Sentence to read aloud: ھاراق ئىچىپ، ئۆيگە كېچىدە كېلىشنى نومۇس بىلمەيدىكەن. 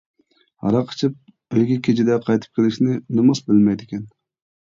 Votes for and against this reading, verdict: 0, 2, rejected